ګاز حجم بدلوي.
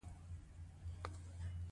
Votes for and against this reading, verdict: 1, 2, rejected